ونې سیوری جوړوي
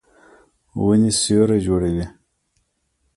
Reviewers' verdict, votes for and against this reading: rejected, 0, 2